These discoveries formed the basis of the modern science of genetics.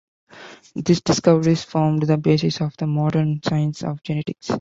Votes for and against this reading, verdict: 2, 0, accepted